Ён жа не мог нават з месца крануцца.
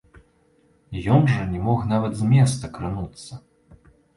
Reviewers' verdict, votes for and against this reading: accepted, 2, 0